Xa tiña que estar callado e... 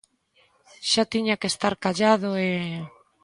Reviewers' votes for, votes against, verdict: 2, 1, accepted